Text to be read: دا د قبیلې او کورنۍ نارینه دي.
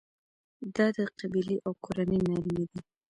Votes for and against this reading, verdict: 1, 2, rejected